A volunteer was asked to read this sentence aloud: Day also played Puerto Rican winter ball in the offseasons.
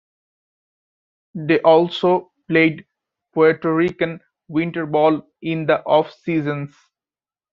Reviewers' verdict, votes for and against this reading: accepted, 2, 1